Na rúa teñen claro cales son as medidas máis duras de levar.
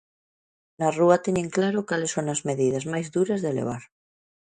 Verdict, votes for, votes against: rejected, 1, 2